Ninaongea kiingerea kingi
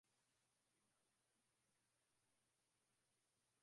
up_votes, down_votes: 0, 4